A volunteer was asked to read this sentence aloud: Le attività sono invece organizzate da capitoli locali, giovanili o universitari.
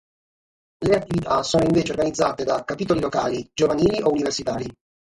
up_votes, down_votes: 3, 0